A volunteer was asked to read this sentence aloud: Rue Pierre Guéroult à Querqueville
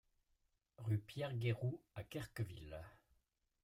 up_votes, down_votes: 2, 0